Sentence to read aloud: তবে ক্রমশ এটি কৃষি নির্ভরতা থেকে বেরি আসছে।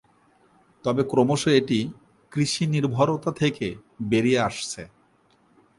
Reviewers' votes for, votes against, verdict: 2, 0, accepted